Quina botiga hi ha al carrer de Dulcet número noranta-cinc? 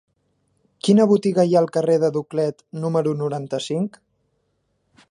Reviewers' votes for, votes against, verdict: 1, 2, rejected